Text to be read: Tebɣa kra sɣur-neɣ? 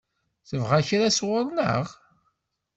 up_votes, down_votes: 2, 0